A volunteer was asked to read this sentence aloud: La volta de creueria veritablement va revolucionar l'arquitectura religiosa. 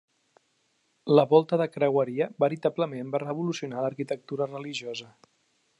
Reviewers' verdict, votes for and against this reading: accepted, 3, 0